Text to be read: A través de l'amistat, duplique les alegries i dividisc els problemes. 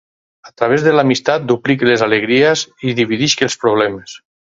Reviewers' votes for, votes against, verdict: 4, 0, accepted